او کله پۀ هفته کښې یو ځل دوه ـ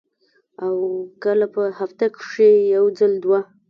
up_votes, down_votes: 1, 2